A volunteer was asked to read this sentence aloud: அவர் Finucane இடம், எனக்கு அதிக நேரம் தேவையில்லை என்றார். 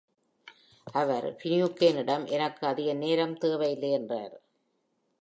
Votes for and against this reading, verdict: 2, 1, accepted